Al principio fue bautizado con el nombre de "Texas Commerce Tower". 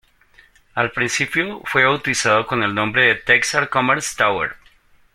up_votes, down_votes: 2, 0